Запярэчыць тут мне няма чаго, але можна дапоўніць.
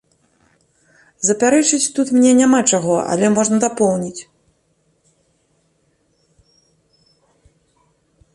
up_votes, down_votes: 2, 0